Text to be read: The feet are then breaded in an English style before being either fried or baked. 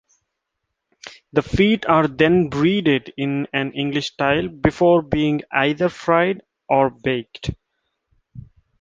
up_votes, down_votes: 1, 2